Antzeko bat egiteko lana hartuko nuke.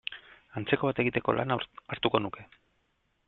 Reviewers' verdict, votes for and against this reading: rejected, 0, 2